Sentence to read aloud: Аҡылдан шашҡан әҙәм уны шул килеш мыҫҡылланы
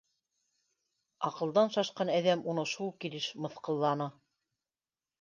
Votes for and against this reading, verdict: 2, 0, accepted